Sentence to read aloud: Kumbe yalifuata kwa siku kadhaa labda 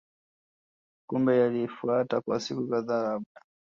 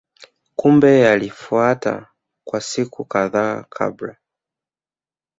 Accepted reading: first